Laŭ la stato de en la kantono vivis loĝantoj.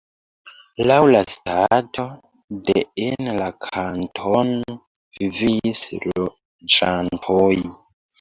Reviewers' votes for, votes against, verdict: 0, 2, rejected